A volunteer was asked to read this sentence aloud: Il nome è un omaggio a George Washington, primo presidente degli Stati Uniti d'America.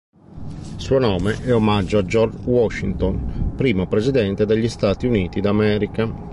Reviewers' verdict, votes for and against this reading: rejected, 0, 2